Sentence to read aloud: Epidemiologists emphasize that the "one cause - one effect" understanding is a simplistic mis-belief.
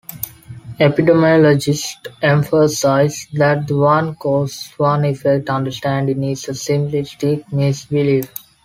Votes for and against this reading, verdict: 2, 0, accepted